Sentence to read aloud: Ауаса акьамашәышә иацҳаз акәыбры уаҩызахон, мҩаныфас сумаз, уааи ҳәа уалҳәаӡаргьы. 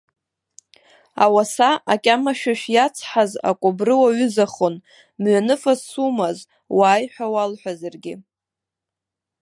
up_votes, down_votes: 2, 1